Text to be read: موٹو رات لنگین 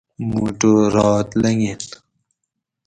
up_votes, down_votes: 4, 0